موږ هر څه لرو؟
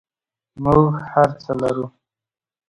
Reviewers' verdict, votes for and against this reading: accepted, 2, 0